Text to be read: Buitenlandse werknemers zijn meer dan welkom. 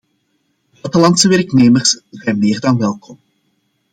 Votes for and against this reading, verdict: 0, 2, rejected